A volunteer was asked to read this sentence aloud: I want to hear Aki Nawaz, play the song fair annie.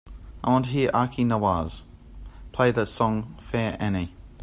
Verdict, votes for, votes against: accepted, 2, 0